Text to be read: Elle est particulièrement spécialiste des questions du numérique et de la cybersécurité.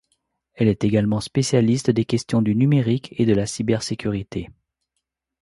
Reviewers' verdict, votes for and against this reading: rejected, 0, 2